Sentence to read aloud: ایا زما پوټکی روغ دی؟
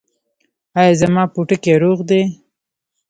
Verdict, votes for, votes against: rejected, 0, 2